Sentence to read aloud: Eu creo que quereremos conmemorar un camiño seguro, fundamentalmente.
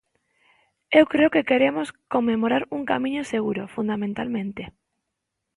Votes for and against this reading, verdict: 2, 1, accepted